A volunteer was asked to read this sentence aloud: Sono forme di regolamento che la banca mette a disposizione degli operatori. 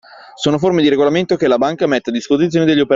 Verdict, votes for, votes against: rejected, 0, 2